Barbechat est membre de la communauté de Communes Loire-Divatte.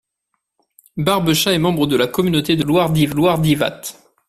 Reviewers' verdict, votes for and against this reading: rejected, 0, 2